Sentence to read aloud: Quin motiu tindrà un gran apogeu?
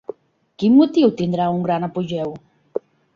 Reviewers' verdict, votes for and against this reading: accepted, 3, 0